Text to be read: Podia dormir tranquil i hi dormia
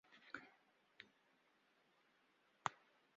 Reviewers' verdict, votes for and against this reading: rejected, 0, 3